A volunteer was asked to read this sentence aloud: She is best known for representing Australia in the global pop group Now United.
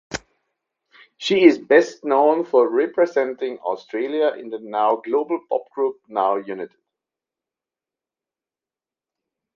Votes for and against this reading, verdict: 0, 2, rejected